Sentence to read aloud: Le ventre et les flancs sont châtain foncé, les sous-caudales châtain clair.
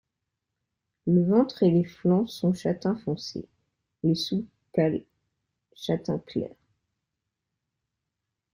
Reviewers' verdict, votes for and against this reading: rejected, 0, 2